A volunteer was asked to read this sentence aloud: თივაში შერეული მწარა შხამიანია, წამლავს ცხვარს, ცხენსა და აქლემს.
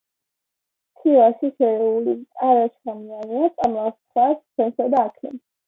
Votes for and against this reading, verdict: 0, 2, rejected